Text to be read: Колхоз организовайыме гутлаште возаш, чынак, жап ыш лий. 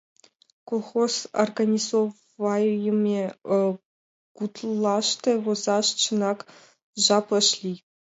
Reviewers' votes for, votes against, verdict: 2, 0, accepted